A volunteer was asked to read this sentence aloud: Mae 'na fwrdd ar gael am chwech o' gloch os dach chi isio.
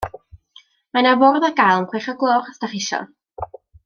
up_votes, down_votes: 0, 2